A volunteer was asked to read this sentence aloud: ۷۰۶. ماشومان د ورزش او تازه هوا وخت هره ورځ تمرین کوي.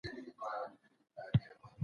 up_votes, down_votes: 0, 2